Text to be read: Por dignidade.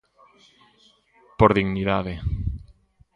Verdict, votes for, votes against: accepted, 2, 0